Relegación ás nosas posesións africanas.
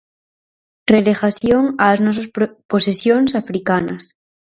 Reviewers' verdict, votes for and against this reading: rejected, 0, 4